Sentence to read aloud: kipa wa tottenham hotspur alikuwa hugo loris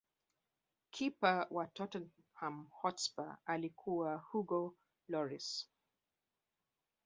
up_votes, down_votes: 1, 2